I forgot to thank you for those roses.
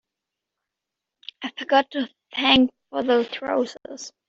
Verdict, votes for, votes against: rejected, 1, 2